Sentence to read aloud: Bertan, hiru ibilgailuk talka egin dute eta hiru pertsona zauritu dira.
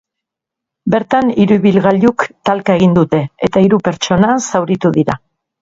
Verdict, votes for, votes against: accepted, 2, 0